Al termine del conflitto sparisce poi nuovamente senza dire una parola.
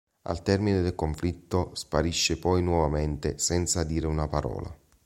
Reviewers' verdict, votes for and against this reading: accepted, 2, 0